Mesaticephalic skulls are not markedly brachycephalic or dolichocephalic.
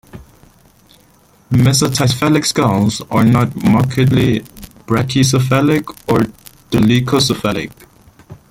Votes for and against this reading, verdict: 3, 1, accepted